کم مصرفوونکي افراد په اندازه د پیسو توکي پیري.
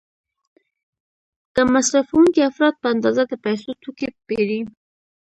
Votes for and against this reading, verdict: 2, 0, accepted